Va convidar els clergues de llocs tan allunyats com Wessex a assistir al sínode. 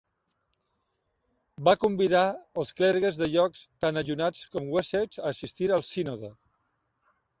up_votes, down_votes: 1, 2